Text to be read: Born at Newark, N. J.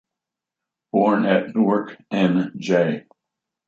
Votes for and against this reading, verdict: 2, 1, accepted